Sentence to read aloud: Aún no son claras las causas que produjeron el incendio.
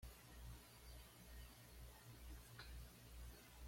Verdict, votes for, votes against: rejected, 1, 2